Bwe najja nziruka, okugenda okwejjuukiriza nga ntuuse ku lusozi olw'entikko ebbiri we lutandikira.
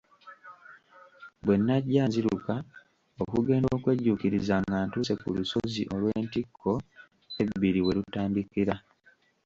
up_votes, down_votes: 1, 2